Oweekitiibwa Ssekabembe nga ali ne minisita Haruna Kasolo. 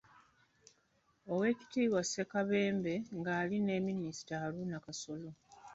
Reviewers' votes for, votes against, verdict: 1, 2, rejected